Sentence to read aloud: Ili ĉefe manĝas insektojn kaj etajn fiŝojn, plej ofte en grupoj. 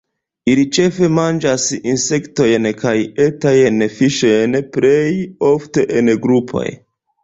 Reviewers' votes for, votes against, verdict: 0, 2, rejected